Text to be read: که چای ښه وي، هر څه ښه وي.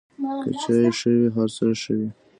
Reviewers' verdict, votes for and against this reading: accepted, 2, 1